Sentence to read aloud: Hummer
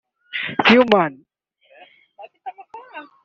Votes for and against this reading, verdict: 1, 2, rejected